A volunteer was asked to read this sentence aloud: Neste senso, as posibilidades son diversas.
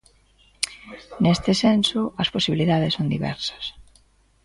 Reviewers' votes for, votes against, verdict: 2, 0, accepted